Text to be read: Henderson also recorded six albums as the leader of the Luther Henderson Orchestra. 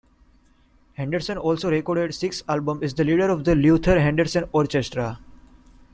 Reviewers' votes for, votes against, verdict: 1, 2, rejected